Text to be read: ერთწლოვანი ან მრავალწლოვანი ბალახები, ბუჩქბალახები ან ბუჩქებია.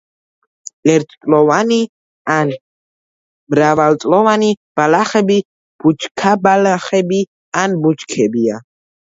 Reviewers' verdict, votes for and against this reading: rejected, 1, 2